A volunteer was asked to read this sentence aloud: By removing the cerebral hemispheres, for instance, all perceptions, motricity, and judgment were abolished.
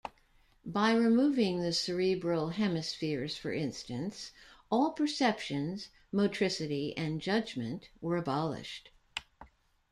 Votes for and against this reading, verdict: 2, 0, accepted